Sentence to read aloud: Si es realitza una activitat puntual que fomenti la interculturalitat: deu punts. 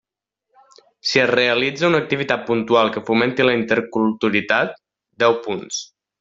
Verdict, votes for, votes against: rejected, 0, 2